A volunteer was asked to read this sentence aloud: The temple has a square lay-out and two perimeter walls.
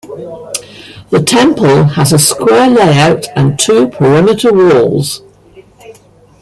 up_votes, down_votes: 1, 2